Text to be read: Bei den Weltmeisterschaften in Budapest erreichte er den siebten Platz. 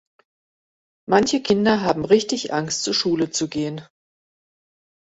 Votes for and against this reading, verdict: 0, 2, rejected